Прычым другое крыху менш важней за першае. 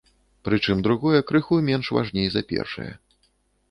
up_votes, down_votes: 2, 0